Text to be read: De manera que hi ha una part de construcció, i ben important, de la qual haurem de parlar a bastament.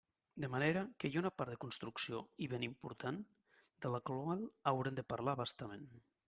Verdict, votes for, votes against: rejected, 0, 2